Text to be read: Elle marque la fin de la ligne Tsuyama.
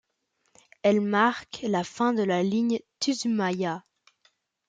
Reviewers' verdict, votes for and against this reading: rejected, 0, 2